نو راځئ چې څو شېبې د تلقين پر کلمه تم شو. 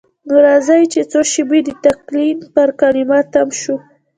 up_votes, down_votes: 1, 2